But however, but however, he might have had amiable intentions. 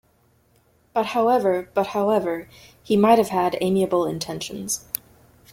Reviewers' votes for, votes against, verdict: 2, 0, accepted